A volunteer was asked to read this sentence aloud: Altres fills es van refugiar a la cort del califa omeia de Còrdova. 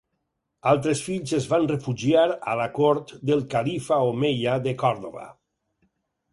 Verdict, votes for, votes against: accepted, 4, 0